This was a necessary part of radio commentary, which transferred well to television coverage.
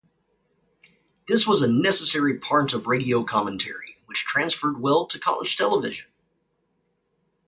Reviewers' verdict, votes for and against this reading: rejected, 2, 2